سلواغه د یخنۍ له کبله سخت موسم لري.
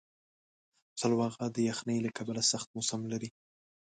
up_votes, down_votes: 2, 0